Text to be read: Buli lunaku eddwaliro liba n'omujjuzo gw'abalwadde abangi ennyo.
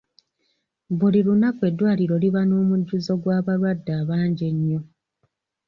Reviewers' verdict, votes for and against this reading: accepted, 2, 0